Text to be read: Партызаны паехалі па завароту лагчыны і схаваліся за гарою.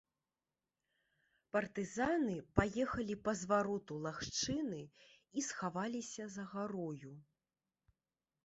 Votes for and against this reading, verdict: 0, 3, rejected